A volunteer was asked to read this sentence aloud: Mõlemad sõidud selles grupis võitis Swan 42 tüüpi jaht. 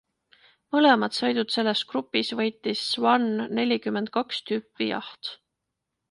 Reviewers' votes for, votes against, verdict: 0, 2, rejected